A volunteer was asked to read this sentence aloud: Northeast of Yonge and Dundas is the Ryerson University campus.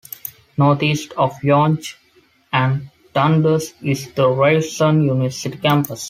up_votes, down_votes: 2, 0